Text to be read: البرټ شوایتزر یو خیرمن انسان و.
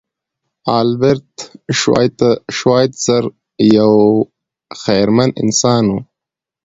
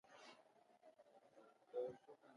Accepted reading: first